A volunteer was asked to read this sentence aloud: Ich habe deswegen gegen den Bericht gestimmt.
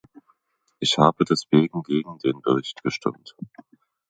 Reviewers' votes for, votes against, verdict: 2, 1, accepted